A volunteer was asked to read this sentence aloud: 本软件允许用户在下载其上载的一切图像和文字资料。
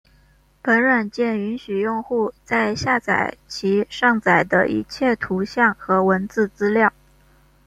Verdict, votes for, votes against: rejected, 1, 2